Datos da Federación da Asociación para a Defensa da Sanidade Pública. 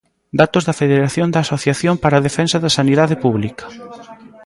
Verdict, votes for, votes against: rejected, 0, 2